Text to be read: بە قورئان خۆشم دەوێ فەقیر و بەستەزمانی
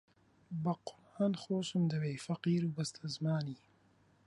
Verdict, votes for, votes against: rejected, 1, 2